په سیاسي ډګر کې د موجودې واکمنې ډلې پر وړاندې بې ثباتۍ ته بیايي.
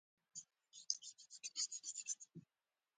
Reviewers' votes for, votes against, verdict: 0, 2, rejected